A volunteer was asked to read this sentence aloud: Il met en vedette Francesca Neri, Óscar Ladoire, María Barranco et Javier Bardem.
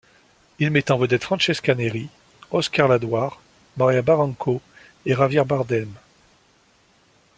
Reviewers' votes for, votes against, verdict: 2, 0, accepted